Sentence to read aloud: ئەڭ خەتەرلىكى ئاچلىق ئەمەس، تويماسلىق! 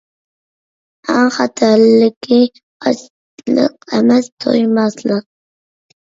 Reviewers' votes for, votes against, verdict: 0, 2, rejected